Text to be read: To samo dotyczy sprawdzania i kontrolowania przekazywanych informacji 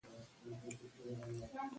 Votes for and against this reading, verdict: 0, 2, rejected